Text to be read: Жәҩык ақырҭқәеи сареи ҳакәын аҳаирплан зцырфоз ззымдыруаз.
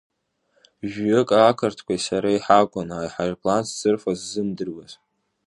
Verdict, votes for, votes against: accepted, 2, 0